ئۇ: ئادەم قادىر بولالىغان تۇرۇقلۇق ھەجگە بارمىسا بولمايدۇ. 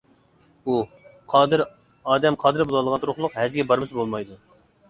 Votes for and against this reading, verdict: 0, 2, rejected